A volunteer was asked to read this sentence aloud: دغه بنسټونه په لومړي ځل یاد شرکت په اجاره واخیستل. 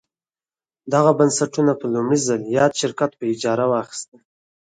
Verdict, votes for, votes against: accepted, 4, 0